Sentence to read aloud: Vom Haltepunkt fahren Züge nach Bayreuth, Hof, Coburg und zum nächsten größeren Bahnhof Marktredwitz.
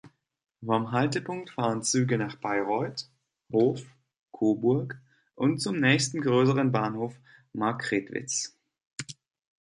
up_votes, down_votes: 1, 2